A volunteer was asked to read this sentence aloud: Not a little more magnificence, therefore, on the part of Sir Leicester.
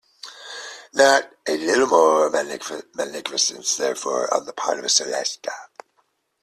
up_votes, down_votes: 0, 2